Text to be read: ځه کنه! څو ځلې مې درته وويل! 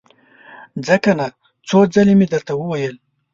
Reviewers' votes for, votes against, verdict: 2, 0, accepted